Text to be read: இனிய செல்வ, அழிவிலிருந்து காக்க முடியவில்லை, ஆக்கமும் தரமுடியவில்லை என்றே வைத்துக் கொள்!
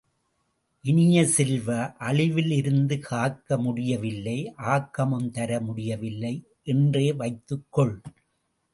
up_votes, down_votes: 1, 2